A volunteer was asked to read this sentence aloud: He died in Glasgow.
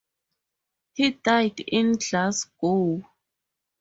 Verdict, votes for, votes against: rejected, 0, 2